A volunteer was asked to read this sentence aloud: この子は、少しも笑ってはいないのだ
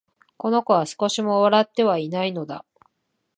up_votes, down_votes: 2, 0